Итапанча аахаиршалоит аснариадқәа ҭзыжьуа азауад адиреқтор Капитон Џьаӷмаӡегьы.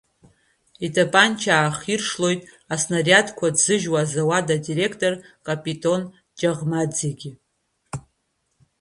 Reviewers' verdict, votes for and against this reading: accepted, 2, 0